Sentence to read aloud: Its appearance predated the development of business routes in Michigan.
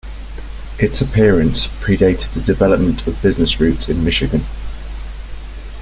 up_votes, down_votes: 3, 0